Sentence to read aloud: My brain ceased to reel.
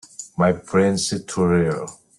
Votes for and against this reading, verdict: 0, 2, rejected